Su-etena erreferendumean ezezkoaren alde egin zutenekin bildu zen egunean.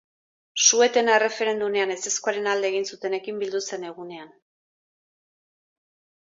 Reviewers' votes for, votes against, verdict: 4, 0, accepted